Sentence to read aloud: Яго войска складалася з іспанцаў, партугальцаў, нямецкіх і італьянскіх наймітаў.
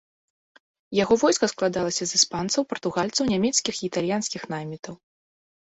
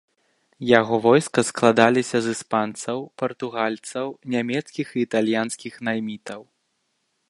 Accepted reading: first